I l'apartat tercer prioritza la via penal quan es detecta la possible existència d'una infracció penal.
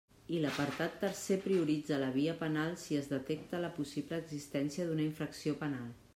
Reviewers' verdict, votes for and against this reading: rejected, 0, 2